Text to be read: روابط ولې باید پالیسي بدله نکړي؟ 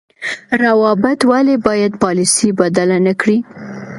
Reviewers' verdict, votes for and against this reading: accepted, 2, 1